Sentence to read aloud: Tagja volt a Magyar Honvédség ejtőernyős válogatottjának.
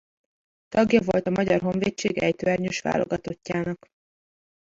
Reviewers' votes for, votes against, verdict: 1, 2, rejected